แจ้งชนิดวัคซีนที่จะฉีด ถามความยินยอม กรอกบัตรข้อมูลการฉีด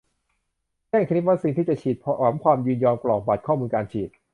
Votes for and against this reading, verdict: 1, 2, rejected